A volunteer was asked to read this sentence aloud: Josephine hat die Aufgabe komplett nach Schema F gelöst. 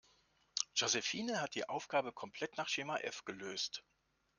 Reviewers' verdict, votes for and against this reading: accepted, 2, 0